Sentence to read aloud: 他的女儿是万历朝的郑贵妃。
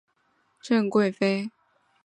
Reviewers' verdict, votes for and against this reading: rejected, 1, 2